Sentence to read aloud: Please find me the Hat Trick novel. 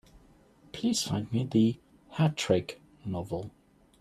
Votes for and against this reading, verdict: 2, 0, accepted